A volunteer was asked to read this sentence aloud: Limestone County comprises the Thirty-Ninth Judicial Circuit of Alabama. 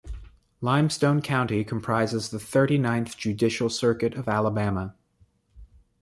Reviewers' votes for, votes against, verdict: 2, 0, accepted